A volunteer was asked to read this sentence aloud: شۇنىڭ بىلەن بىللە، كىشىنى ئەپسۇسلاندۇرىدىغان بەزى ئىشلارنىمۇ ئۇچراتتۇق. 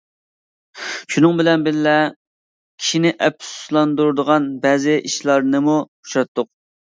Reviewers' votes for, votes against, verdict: 2, 0, accepted